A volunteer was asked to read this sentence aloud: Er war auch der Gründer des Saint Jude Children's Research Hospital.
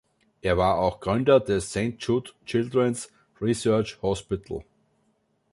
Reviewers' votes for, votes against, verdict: 1, 2, rejected